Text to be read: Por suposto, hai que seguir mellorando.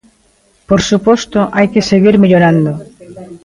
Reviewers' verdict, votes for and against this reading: accepted, 2, 0